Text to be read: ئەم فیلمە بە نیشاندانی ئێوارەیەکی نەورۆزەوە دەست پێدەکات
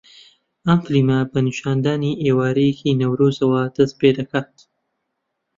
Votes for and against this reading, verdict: 2, 1, accepted